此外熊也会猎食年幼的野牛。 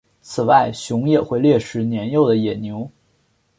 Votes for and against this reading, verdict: 2, 1, accepted